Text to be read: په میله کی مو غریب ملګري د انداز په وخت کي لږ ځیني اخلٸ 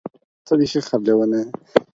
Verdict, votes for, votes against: rejected, 0, 4